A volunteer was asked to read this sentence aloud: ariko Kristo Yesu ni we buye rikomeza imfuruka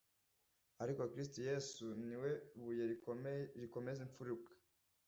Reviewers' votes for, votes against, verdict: 0, 2, rejected